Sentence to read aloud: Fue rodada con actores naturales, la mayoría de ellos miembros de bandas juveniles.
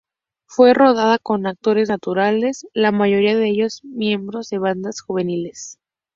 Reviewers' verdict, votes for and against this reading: accepted, 2, 0